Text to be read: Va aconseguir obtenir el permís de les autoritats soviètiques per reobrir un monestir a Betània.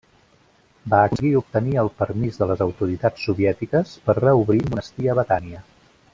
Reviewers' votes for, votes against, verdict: 0, 2, rejected